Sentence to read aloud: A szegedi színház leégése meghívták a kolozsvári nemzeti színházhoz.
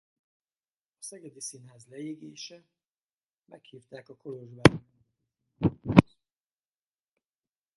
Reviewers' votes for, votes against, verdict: 0, 4, rejected